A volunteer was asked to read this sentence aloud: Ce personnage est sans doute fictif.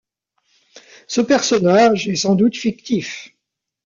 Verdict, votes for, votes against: rejected, 1, 2